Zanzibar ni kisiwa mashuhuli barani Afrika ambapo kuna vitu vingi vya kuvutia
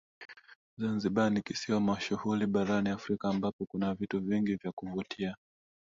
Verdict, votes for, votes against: rejected, 1, 2